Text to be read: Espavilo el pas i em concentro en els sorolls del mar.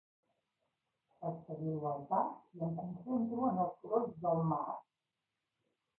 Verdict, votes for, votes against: rejected, 1, 2